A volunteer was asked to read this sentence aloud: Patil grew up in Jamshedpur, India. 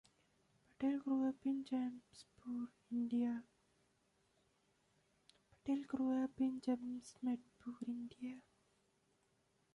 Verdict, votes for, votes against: rejected, 0, 2